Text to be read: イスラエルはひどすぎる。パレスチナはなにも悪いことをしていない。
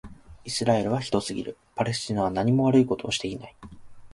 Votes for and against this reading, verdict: 2, 0, accepted